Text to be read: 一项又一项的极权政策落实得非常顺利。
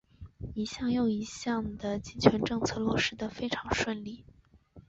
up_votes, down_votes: 1, 2